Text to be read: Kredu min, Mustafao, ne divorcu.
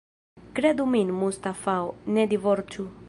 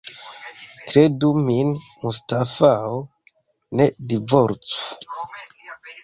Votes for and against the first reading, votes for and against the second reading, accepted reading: 1, 2, 2, 0, second